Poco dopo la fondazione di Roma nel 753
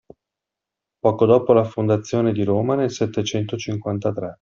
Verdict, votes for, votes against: rejected, 0, 2